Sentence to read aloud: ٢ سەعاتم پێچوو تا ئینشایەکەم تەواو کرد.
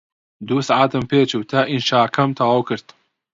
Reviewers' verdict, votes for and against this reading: rejected, 0, 2